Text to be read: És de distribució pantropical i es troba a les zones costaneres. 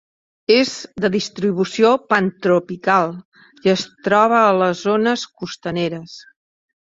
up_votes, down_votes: 3, 0